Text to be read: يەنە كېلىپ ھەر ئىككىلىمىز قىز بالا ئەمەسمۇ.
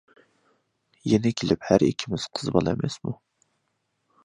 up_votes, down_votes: 2, 0